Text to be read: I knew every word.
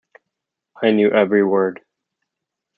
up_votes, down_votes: 2, 0